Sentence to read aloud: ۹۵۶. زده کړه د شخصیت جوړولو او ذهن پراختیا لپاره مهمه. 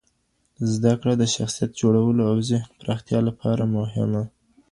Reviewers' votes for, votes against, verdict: 0, 2, rejected